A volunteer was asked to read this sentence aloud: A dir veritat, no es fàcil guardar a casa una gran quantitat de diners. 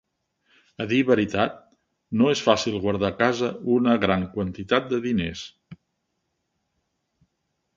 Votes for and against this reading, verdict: 3, 0, accepted